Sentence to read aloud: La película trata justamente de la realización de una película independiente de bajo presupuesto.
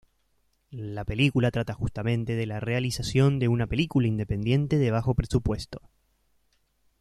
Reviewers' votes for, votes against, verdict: 2, 0, accepted